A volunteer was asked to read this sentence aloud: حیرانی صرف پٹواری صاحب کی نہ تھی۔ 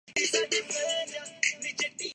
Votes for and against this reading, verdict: 0, 3, rejected